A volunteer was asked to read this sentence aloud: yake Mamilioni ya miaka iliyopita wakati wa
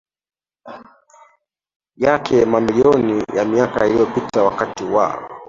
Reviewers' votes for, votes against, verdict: 1, 3, rejected